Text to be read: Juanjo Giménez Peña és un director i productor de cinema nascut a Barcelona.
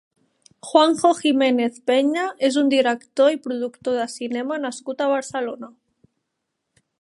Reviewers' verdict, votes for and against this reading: accepted, 2, 0